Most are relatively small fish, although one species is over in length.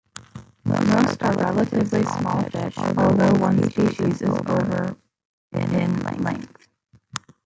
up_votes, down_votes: 1, 2